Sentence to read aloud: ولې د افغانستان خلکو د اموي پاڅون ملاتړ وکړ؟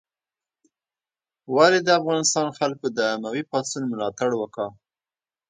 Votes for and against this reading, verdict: 0, 2, rejected